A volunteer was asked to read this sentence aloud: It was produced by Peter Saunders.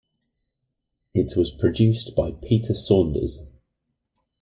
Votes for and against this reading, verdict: 2, 0, accepted